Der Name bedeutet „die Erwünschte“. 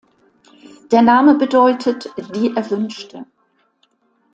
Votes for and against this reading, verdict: 2, 0, accepted